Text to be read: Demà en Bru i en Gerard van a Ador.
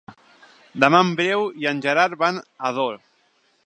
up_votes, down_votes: 0, 2